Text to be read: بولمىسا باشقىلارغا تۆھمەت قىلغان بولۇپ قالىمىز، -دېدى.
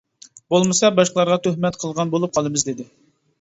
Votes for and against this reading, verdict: 2, 0, accepted